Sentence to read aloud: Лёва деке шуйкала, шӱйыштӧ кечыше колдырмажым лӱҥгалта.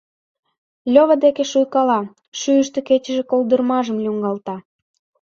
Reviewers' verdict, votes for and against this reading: accepted, 3, 0